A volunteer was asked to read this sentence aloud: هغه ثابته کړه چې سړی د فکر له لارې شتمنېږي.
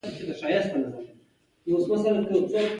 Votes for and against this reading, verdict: 2, 0, accepted